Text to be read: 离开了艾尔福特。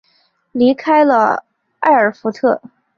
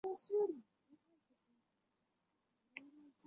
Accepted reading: first